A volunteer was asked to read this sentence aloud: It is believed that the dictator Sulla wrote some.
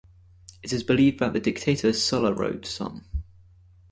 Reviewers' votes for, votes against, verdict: 2, 0, accepted